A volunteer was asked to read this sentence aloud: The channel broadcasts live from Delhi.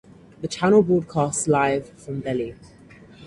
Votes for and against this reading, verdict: 4, 2, accepted